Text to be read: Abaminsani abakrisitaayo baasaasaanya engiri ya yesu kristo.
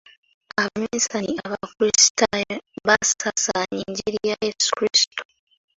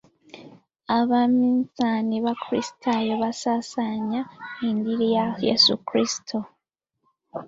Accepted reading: first